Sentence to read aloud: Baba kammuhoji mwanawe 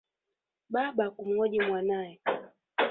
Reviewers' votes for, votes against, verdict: 0, 2, rejected